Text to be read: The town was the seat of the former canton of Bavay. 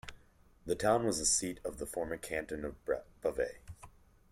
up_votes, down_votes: 1, 2